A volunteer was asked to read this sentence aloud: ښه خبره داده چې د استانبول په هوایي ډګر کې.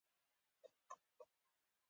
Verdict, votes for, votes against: rejected, 1, 2